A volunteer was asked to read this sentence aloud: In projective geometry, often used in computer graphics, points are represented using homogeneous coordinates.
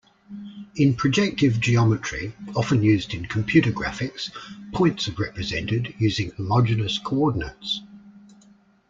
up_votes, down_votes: 2, 0